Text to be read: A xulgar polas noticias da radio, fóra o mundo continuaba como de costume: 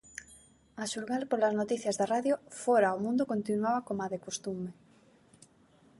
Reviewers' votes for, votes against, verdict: 0, 2, rejected